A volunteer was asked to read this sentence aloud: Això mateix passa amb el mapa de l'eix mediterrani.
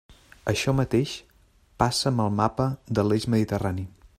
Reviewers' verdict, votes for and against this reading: accepted, 3, 0